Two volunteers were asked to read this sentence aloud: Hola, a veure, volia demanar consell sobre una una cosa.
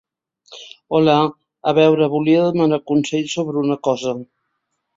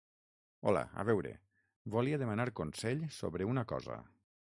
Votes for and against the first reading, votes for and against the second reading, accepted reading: 2, 0, 3, 6, first